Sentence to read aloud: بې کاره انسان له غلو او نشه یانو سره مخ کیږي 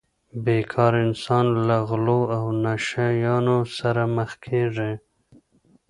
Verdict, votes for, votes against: accepted, 2, 0